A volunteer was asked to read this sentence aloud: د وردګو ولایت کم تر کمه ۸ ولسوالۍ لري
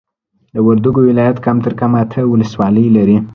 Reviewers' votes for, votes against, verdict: 0, 2, rejected